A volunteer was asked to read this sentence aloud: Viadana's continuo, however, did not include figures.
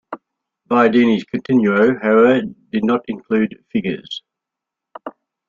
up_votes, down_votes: 0, 2